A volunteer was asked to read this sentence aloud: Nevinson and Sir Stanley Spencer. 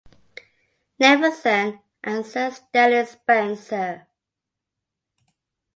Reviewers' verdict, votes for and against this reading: accepted, 2, 1